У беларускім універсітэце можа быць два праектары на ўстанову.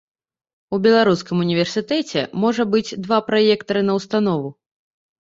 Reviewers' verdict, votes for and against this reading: rejected, 1, 2